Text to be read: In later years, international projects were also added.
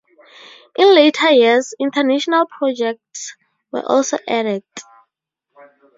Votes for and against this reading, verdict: 2, 0, accepted